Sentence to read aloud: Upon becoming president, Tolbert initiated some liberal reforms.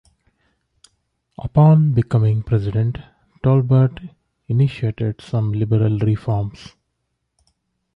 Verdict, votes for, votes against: accepted, 2, 0